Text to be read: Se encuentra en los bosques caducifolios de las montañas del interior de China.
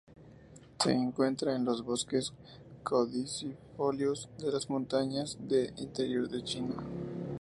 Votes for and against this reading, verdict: 2, 0, accepted